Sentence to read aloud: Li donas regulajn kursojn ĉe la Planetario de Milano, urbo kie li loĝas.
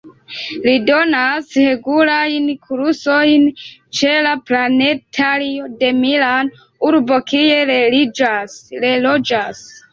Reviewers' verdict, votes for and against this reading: rejected, 2, 3